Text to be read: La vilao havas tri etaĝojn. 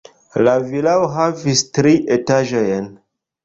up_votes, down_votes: 1, 2